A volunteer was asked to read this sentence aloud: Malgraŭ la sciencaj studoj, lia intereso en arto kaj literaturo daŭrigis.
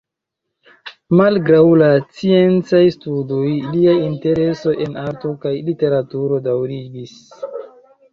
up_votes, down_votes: 2, 0